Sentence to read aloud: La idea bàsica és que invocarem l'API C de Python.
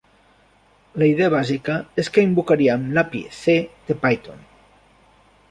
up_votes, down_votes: 1, 2